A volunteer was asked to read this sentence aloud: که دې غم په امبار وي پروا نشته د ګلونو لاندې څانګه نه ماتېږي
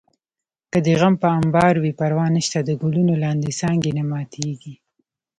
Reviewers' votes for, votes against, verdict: 2, 0, accepted